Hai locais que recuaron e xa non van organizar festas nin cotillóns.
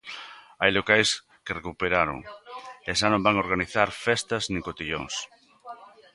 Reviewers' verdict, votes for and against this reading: rejected, 0, 2